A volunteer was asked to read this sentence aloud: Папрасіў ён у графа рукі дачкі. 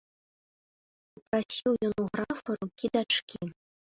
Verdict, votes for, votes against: rejected, 0, 2